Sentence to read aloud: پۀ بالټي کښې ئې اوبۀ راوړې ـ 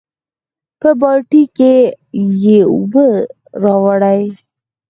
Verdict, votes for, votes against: accepted, 4, 0